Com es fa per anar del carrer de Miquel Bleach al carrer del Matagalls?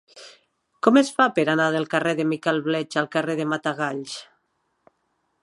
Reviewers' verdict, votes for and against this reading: accepted, 2, 0